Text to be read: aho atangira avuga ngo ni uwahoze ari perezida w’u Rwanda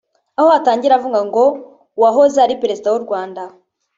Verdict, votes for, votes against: rejected, 0, 2